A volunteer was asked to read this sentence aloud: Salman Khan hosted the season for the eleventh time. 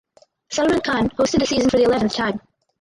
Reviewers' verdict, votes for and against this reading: rejected, 2, 4